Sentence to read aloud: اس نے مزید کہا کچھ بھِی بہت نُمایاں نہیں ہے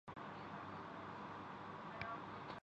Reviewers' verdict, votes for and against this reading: rejected, 0, 2